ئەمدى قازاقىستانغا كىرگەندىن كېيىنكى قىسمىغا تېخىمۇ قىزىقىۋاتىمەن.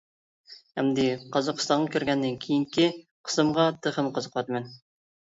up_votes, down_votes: 1, 2